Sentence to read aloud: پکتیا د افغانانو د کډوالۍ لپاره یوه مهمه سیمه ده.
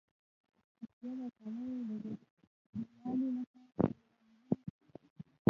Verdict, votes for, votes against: rejected, 0, 2